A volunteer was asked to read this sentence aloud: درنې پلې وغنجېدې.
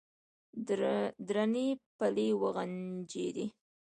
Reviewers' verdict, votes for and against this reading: rejected, 1, 2